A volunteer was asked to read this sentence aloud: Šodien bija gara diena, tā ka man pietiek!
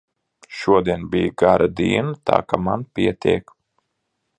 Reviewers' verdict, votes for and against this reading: accepted, 2, 0